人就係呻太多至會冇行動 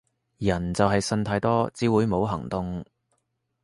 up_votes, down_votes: 3, 0